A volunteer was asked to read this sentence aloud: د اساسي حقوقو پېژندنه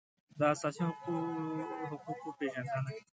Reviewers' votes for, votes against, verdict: 1, 2, rejected